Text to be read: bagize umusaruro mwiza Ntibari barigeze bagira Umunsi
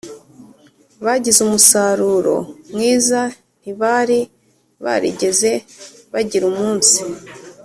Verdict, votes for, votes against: accepted, 2, 0